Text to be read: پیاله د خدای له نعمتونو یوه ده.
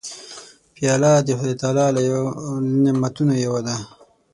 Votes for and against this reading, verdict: 0, 6, rejected